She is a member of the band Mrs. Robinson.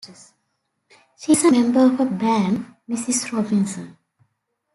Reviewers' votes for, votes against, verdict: 1, 2, rejected